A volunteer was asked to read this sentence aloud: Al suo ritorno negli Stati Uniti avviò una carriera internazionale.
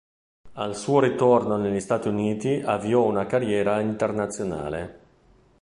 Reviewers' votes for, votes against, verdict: 2, 0, accepted